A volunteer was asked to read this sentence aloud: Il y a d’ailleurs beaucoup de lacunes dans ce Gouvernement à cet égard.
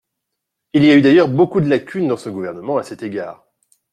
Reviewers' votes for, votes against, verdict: 1, 2, rejected